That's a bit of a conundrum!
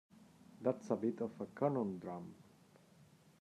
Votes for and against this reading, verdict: 1, 2, rejected